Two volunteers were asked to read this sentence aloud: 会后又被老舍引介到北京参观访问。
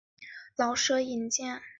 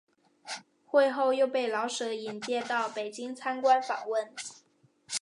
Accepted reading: second